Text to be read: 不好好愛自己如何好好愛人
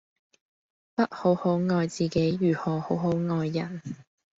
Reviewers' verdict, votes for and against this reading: accepted, 2, 0